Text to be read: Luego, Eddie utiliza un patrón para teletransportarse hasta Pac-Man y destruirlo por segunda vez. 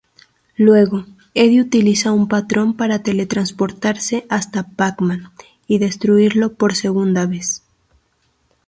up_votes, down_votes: 4, 0